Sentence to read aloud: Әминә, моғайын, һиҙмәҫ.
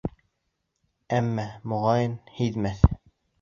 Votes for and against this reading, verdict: 0, 2, rejected